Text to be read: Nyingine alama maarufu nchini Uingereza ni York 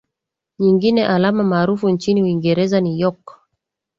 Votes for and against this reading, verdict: 2, 0, accepted